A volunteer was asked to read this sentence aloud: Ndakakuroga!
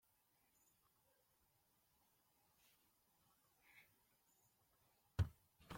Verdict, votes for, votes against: rejected, 0, 2